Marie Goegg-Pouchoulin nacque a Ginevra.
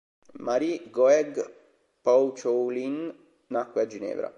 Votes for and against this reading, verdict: 3, 0, accepted